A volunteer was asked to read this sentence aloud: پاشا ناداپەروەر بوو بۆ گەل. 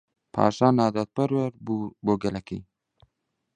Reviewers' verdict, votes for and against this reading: rejected, 1, 3